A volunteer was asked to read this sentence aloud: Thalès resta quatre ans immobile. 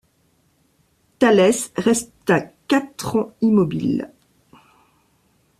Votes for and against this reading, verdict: 2, 0, accepted